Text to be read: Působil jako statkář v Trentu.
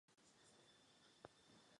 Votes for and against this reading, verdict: 0, 2, rejected